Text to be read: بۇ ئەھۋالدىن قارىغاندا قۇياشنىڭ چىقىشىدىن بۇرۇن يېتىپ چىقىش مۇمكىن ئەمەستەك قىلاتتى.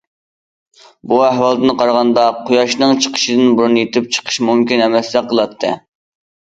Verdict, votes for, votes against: accepted, 2, 0